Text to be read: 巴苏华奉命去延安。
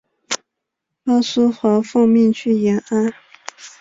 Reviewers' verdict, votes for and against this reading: rejected, 1, 2